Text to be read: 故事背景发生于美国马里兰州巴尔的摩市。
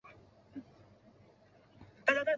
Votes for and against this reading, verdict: 0, 3, rejected